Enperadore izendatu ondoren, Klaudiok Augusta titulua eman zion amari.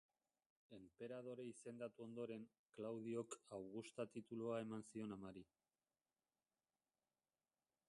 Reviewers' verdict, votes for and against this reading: rejected, 0, 2